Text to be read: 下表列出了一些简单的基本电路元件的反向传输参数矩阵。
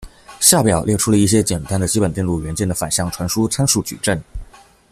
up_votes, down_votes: 2, 1